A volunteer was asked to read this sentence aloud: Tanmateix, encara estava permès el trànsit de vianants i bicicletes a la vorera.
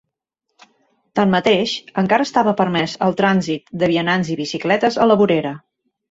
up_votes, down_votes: 3, 0